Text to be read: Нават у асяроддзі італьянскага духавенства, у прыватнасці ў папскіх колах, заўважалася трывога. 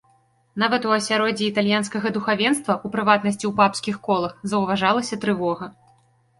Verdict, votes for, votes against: rejected, 1, 2